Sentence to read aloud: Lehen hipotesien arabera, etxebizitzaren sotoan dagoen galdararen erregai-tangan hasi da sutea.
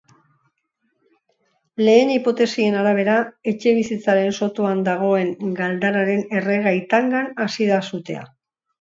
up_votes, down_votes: 2, 0